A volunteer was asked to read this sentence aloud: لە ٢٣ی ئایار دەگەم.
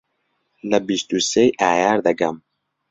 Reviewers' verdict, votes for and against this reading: rejected, 0, 2